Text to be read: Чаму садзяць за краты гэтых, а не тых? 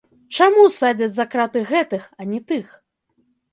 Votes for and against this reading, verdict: 0, 2, rejected